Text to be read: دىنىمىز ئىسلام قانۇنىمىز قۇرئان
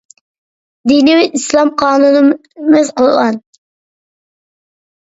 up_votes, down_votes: 0, 2